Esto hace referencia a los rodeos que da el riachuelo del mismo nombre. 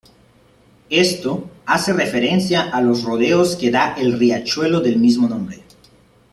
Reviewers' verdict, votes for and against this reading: rejected, 1, 2